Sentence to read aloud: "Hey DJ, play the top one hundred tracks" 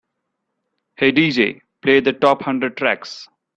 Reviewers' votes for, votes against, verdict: 0, 2, rejected